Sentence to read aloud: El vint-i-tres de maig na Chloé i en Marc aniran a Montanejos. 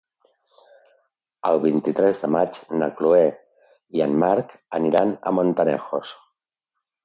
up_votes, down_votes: 0, 2